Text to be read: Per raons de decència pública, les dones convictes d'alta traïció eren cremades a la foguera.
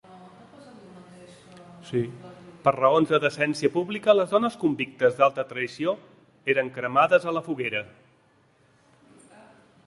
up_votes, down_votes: 1, 2